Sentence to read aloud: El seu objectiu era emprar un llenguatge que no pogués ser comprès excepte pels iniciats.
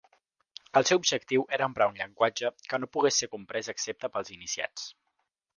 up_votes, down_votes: 2, 0